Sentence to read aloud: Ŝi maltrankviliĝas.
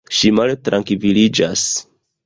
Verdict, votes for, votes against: rejected, 1, 2